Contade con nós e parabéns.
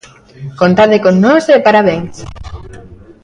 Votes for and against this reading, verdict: 1, 2, rejected